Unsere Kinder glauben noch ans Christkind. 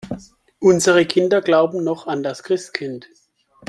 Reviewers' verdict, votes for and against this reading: rejected, 0, 2